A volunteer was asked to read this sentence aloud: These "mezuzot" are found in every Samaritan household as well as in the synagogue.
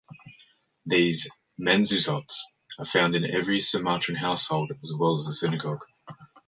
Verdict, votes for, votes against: rejected, 1, 3